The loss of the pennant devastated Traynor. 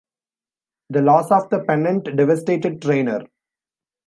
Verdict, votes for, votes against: accepted, 2, 0